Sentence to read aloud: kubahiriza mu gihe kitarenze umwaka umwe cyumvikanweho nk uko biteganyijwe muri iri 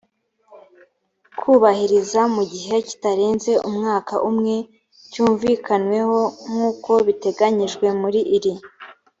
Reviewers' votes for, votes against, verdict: 3, 0, accepted